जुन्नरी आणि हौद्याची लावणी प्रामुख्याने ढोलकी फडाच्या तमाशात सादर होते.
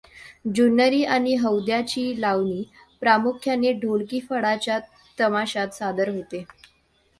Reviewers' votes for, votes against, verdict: 2, 0, accepted